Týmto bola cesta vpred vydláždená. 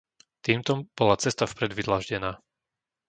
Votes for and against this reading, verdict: 0, 2, rejected